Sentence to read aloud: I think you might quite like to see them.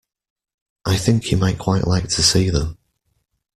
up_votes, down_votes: 2, 0